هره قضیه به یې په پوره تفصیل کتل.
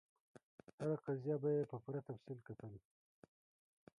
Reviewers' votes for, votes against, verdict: 1, 2, rejected